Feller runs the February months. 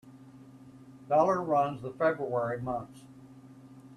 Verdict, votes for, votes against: rejected, 1, 2